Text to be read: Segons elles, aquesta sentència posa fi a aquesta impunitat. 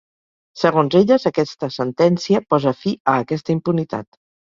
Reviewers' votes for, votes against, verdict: 2, 0, accepted